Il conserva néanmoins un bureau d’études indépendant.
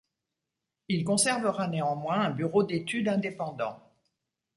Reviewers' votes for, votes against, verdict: 1, 2, rejected